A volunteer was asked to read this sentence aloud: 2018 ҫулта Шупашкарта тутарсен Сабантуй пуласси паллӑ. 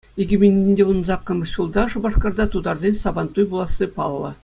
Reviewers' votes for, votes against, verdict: 0, 2, rejected